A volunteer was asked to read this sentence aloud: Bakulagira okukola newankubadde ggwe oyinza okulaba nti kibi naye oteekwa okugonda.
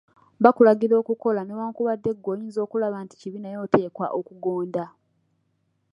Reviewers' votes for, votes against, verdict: 2, 0, accepted